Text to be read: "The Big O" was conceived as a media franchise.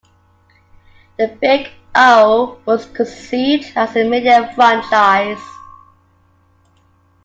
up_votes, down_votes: 2, 0